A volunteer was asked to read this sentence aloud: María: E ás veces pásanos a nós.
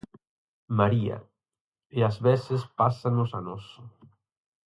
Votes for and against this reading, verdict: 4, 0, accepted